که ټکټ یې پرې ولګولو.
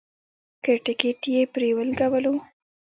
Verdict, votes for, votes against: accepted, 2, 1